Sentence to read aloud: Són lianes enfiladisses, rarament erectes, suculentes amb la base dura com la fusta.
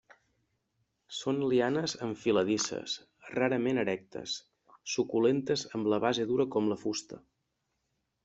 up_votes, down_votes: 2, 0